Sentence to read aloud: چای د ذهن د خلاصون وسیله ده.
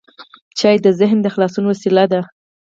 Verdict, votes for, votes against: rejected, 2, 4